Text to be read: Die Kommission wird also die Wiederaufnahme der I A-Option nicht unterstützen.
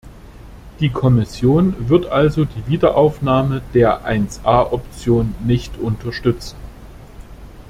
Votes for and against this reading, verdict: 2, 0, accepted